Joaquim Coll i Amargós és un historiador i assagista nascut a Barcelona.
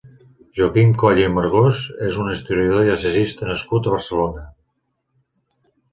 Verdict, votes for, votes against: accepted, 2, 0